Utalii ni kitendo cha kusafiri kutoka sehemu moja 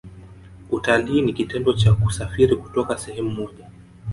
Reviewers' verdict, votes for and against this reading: rejected, 0, 2